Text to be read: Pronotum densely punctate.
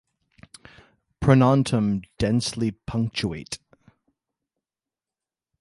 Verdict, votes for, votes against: rejected, 1, 2